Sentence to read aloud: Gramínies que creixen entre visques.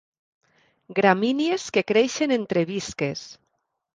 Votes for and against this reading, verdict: 2, 0, accepted